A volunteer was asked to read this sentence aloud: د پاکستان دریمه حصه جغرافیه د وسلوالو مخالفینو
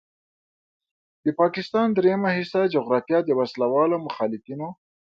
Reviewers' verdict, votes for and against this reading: accepted, 2, 0